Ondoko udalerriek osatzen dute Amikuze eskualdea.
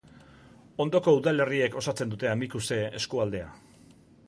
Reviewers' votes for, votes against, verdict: 2, 0, accepted